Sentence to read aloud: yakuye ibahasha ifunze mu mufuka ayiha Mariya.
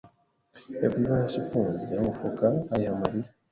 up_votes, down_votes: 1, 2